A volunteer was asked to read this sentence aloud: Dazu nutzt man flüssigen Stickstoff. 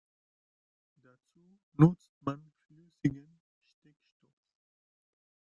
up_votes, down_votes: 0, 2